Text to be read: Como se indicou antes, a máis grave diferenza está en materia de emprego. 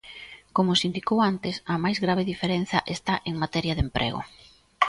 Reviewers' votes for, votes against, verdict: 2, 0, accepted